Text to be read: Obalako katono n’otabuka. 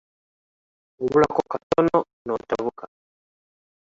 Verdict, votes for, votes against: rejected, 1, 2